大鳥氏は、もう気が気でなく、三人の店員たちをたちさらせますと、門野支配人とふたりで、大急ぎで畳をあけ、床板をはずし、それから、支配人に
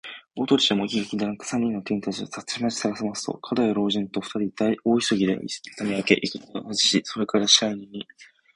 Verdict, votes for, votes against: rejected, 1, 2